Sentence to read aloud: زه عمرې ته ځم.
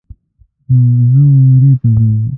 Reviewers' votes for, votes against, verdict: 1, 2, rejected